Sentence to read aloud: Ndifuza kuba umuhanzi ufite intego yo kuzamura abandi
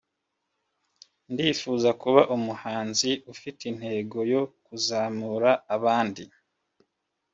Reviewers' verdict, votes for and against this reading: accepted, 3, 0